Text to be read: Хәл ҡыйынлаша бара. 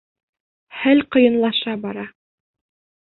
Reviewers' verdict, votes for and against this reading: rejected, 1, 2